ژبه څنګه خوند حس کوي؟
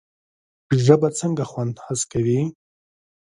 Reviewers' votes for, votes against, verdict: 2, 0, accepted